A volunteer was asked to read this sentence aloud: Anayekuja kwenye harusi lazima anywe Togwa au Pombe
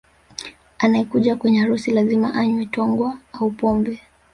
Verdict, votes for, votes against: accepted, 3, 0